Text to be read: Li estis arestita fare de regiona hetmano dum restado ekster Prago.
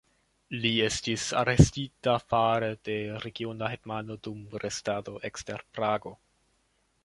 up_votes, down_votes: 2, 1